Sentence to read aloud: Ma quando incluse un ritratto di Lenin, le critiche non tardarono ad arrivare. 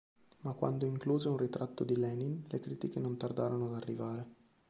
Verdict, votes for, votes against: accepted, 2, 0